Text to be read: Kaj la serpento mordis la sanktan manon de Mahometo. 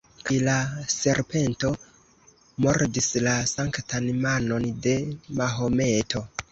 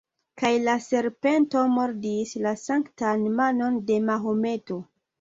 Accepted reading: second